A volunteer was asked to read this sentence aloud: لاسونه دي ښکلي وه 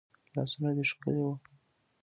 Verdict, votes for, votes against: rejected, 1, 2